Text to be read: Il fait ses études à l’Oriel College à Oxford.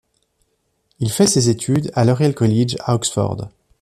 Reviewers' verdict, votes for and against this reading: accepted, 2, 0